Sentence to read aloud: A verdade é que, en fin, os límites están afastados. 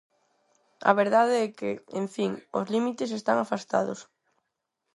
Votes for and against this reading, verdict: 4, 0, accepted